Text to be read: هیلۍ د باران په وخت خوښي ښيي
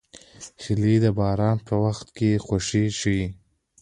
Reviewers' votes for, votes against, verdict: 2, 0, accepted